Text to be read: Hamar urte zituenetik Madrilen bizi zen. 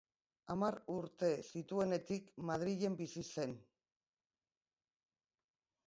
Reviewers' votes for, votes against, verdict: 2, 0, accepted